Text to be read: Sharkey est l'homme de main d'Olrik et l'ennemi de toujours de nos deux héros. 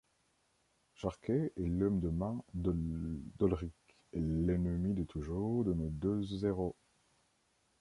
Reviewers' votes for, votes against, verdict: 0, 2, rejected